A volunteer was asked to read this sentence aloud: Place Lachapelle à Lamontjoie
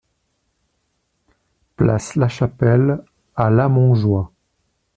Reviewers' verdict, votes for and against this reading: accepted, 2, 0